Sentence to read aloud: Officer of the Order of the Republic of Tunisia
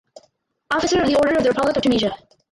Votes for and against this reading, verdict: 0, 4, rejected